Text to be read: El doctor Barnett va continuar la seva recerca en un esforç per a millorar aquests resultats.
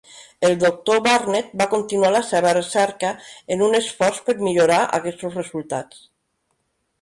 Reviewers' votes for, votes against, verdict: 1, 2, rejected